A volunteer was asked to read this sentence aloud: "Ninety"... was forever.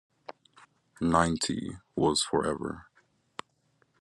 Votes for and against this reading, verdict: 2, 0, accepted